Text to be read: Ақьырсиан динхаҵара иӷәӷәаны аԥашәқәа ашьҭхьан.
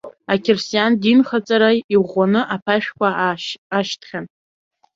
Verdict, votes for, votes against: rejected, 0, 3